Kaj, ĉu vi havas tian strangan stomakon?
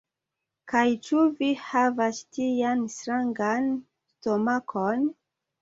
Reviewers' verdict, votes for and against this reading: rejected, 1, 2